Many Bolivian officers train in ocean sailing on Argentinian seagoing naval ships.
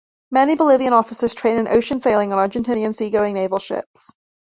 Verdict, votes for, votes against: accepted, 2, 0